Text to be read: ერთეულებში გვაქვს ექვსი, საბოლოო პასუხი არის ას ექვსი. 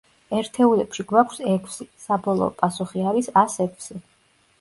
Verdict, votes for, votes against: accepted, 3, 0